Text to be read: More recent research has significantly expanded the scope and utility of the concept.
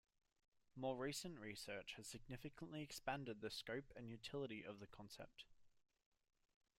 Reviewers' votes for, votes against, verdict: 2, 0, accepted